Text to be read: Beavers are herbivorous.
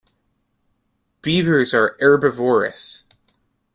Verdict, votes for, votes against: rejected, 0, 2